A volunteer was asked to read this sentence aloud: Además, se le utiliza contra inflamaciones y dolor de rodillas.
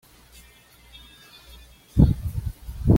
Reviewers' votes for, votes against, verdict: 1, 2, rejected